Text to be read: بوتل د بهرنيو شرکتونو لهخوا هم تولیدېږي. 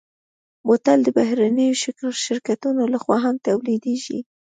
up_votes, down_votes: 3, 0